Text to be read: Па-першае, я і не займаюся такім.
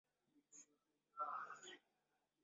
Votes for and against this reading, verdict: 0, 2, rejected